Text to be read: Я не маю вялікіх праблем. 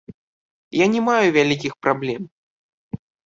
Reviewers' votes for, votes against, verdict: 2, 1, accepted